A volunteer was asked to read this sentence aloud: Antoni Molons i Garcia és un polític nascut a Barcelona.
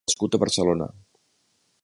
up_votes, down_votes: 0, 2